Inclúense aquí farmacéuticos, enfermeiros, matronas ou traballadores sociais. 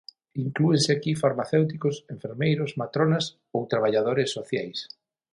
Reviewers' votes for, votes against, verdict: 6, 3, accepted